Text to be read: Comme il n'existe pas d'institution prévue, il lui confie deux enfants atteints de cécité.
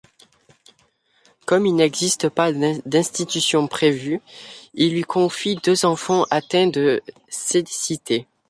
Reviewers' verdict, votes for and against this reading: rejected, 0, 2